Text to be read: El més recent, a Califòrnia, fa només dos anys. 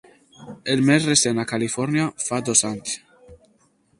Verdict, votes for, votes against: rejected, 0, 2